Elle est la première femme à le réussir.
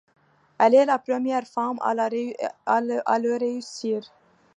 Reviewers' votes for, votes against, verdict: 0, 2, rejected